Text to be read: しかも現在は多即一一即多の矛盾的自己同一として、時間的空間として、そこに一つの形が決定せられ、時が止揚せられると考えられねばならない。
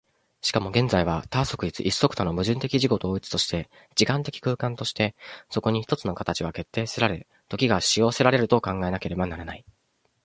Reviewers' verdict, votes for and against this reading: rejected, 0, 2